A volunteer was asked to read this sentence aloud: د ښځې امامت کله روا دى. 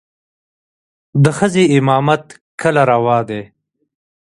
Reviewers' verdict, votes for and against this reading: rejected, 1, 2